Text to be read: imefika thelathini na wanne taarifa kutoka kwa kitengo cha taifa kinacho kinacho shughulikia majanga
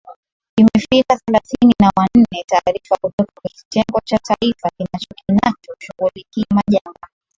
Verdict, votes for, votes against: accepted, 7, 4